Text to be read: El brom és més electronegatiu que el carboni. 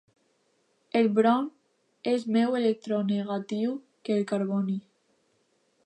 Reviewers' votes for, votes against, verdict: 0, 2, rejected